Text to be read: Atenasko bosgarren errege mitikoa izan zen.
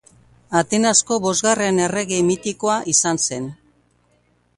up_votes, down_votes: 0, 2